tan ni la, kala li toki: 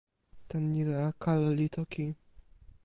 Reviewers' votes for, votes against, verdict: 1, 2, rejected